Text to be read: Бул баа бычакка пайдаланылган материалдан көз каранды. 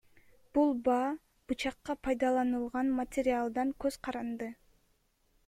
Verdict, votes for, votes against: accepted, 3, 1